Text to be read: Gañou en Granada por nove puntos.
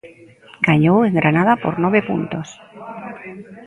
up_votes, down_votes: 0, 2